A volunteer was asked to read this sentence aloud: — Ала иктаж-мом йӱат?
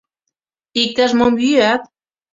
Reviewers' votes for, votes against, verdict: 1, 2, rejected